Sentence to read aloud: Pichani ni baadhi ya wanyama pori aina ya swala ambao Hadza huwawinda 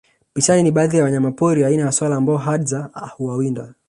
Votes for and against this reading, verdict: 2, 3, rejected